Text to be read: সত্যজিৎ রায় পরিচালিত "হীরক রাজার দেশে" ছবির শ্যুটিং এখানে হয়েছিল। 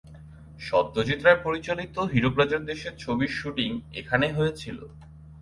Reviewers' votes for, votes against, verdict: 6, 0, accepted